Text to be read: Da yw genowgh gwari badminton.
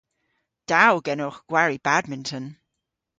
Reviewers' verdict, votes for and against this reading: rejected, 1, 2